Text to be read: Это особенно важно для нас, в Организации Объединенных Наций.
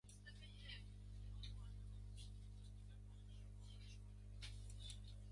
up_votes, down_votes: 0, 2